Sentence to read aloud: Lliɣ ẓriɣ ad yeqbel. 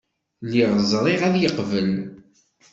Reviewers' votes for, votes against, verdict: 2, 0, accepted